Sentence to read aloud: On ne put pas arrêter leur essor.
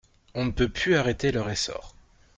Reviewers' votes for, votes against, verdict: 0, 2, rejected